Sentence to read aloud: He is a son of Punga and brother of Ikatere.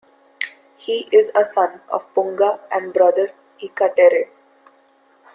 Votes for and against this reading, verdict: 1, 2, rejected